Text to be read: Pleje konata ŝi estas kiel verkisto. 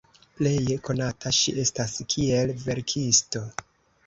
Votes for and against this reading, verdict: 2, 0, accepted